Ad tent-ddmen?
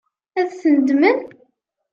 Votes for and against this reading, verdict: 1, 2, rejected